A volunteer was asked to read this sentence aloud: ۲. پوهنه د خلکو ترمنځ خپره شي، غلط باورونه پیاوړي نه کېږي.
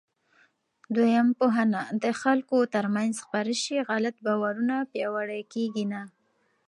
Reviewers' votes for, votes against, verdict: 0, 2, rejected